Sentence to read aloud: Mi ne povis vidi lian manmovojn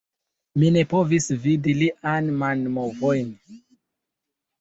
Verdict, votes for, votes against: rejected, 0, 2